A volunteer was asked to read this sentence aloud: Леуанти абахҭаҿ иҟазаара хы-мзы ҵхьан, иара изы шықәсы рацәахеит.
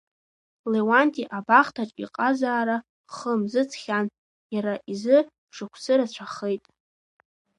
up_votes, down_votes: 1, 2